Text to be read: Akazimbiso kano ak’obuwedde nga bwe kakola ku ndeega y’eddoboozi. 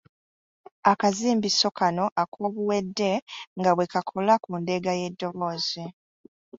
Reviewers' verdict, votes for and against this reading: rejected, 1, 2